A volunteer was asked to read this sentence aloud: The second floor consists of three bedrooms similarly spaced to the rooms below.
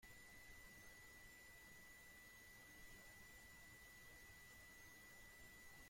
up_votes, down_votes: 0, 2